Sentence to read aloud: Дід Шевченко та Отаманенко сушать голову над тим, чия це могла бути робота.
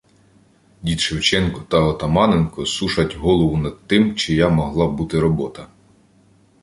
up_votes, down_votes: 0, 2